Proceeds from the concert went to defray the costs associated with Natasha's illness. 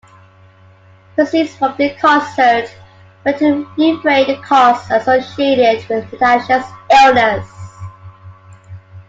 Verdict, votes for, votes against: accepted, 2, 0